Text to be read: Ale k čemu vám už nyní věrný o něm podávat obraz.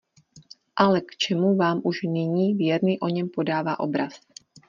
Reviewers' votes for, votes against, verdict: 0, 2, rejected